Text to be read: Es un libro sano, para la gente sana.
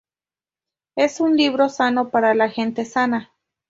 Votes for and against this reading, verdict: 2, 0, accepted